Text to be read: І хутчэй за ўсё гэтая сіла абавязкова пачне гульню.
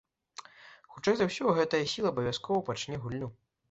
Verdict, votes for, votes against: accepted, 2, 1